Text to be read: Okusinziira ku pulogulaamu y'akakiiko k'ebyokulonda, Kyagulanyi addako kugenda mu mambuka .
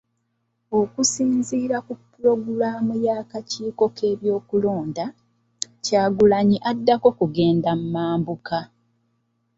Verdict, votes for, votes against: accepted, 2, 0